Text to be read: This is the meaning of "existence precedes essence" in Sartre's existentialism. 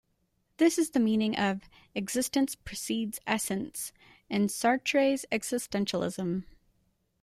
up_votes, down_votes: 2, 0